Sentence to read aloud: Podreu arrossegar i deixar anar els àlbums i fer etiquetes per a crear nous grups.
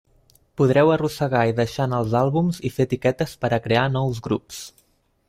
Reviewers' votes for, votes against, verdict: 2, 1, accepted